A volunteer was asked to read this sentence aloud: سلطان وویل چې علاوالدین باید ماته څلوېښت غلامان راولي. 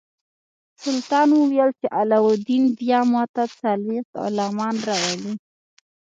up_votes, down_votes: 0, 2